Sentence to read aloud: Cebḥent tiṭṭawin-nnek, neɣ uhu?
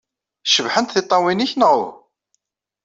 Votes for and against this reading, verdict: 1, 2, rejected